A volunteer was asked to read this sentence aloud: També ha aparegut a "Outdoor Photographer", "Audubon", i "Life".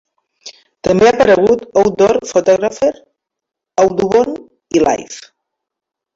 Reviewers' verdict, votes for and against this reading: rejected, 0, 2